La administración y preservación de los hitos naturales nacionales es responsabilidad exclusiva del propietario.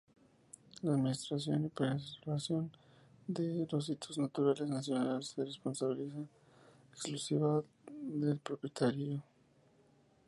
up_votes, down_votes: 0, 4